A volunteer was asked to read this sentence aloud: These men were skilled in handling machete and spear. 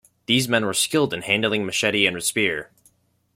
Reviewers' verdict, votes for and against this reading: rejected, 1, 2